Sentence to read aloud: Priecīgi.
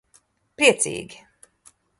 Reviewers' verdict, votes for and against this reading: rejected, 1, 3